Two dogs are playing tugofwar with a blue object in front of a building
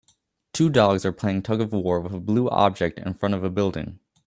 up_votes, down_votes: 2, 1